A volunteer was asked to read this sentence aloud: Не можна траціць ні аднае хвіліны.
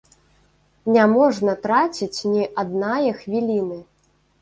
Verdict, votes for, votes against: rejected, 0, 2